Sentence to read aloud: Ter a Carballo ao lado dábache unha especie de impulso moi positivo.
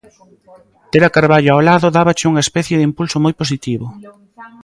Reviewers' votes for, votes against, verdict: 2, 0, accepted